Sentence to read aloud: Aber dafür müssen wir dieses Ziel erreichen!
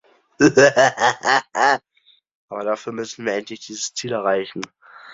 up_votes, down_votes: 0, 2